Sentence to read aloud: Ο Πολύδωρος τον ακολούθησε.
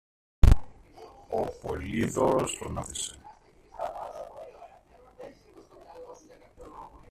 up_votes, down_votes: 0, 2